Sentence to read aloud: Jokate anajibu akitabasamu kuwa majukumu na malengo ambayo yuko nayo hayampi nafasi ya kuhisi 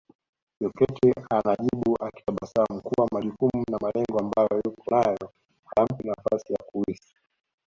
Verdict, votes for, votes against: accepted, 2, 0